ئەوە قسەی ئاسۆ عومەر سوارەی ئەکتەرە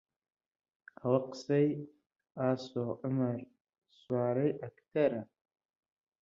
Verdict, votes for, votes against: rejected, 1, 2